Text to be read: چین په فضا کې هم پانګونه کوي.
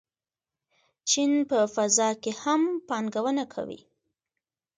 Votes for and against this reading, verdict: 2, 0, accepted